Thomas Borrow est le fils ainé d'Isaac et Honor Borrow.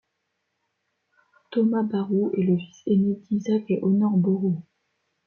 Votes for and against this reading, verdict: 0, 2, rejected